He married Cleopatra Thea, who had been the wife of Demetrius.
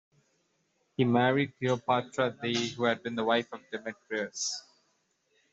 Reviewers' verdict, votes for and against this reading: rejected, 1, 2